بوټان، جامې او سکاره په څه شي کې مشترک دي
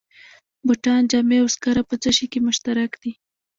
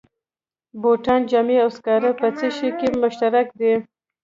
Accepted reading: second